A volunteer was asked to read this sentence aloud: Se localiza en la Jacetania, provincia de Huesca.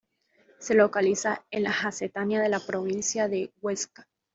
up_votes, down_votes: 1, 2